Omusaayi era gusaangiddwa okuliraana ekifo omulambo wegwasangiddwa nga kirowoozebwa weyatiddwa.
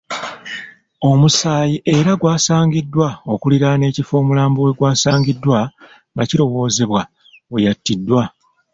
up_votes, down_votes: 2, 1